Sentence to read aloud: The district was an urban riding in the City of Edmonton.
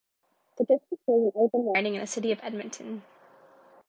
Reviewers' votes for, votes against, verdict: 1, 2, rejected